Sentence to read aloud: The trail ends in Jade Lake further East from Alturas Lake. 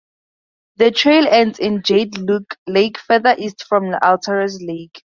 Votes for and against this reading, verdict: 2, 4, rejected